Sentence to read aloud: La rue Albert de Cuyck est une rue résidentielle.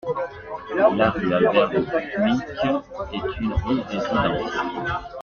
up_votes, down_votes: 0, 2